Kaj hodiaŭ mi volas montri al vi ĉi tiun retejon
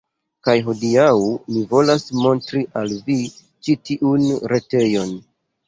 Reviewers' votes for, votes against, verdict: 2, 0, accepted